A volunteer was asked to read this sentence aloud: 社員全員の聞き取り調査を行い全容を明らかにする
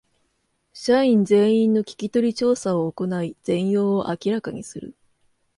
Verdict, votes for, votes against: accepted, 2, 0